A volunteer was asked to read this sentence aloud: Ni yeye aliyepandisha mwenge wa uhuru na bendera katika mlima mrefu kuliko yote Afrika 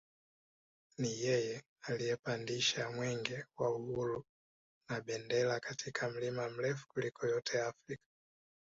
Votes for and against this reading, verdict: 1, 2, rejected